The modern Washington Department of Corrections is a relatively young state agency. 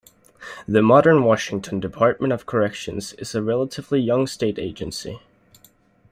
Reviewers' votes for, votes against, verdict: 2, 0, accepted